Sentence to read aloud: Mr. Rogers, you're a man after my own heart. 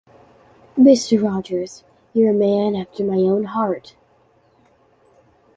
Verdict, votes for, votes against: accepted, 2, 0